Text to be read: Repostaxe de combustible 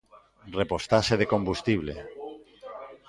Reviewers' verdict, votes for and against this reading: accepted, 2, 1